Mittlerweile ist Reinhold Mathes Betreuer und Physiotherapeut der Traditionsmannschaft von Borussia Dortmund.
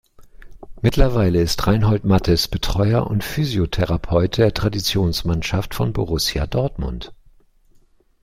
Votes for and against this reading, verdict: 2, 0, accepted